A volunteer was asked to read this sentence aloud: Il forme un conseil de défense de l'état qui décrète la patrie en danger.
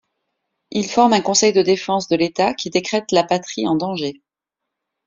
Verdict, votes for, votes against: accepted, 2, 0